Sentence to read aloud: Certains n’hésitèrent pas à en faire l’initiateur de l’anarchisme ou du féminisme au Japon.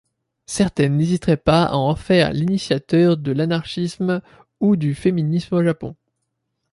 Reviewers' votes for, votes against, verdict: 0, 2, rejected